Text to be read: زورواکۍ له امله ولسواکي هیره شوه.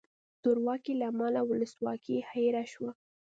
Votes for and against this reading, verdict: 2, 0, accepted